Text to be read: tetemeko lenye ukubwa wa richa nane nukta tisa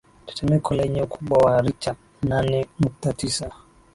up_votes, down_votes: 3, 0